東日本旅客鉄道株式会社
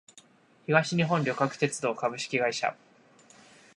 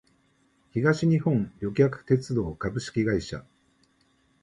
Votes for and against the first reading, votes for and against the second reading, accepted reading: 2, 0, 1, 2, first